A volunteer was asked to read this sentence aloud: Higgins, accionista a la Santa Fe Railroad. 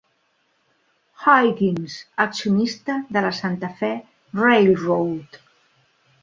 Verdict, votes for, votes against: rejected, 0, 2